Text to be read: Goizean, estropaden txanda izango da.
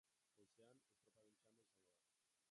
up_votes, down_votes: 0, 2